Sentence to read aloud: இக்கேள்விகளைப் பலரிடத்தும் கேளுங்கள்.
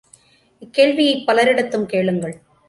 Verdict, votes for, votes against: accepted, 2, 1